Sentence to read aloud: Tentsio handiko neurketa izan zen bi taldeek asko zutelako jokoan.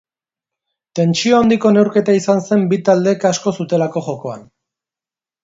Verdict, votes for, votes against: accepted, 2, 1